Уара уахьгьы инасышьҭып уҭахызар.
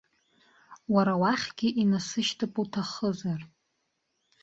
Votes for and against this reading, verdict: 2, 0, accepted